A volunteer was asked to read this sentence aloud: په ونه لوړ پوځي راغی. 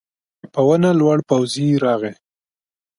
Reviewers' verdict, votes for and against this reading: accepted, 3, 0